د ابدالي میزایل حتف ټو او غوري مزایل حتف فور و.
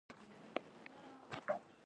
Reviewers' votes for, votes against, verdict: 1, 2, rejected